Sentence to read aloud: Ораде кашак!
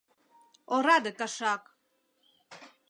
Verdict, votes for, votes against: accepted, 2, 0